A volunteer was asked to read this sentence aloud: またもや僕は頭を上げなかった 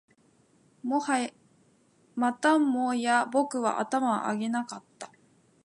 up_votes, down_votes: 0, 2